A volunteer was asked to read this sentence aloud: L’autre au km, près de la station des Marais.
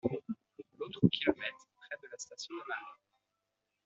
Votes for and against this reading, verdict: 1, 2, rejected